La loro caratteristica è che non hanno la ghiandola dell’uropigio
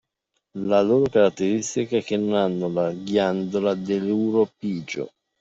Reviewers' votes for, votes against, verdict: 2, 1, accepted